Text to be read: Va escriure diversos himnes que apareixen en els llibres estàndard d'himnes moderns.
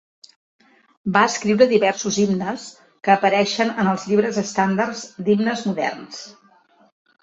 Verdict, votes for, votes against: rejected, 1, 3